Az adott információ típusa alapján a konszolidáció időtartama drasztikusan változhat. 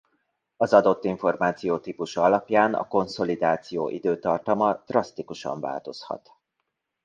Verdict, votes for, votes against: accepted, 2, 0